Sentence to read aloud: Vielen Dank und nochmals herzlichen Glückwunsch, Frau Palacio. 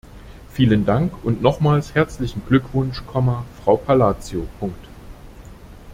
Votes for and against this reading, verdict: 0, 2, rejected